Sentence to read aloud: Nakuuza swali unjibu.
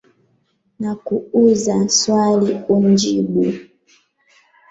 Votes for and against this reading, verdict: 0, 2, rejected